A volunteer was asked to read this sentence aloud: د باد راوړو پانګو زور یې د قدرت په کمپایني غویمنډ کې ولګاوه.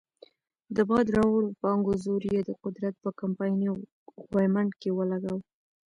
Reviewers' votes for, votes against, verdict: 0, 2, rejected